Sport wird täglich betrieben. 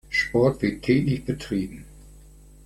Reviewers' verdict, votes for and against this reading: accepted, 2, 0